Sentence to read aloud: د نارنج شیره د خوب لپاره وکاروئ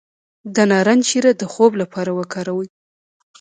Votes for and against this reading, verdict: 1, 2, rejected